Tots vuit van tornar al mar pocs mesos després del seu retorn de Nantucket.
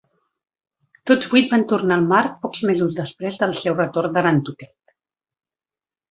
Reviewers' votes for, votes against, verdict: 2, 0, accepted